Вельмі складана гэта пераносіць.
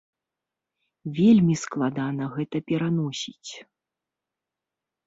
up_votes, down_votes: 3, 0